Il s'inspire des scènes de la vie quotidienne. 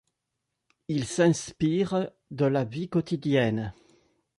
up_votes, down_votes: 0, 2